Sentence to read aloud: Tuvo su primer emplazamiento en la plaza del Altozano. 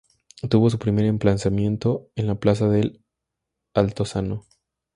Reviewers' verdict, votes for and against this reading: rejected, 2, 2